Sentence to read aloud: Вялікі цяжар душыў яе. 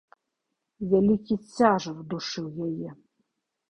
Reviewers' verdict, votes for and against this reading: rejected, 1, 2